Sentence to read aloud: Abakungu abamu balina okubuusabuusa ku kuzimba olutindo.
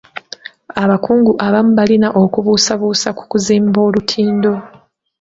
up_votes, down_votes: 2, 0